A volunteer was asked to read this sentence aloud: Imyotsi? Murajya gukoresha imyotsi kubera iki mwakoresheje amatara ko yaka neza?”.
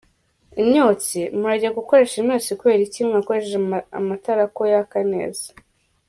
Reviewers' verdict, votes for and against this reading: rejected, 1, 2